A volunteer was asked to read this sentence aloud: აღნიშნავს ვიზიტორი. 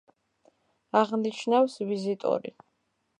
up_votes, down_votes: 2, 0